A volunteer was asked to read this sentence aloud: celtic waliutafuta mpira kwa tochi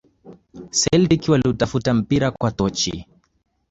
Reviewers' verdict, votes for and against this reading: accepted, 2, 0